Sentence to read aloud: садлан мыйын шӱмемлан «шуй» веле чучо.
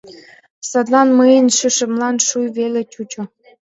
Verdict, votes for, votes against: rejected, 1, 2